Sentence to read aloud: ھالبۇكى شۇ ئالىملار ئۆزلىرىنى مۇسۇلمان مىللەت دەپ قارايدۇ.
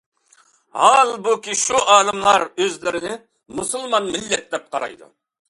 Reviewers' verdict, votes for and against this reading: accepted, 2, 0